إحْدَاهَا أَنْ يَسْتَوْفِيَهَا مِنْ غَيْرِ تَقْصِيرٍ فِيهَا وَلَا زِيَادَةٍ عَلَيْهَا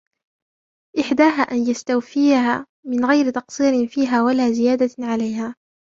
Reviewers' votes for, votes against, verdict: 2, 0, accepted